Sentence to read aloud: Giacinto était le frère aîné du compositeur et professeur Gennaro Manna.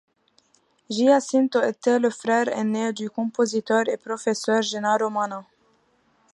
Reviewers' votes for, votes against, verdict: 2, 0, accepted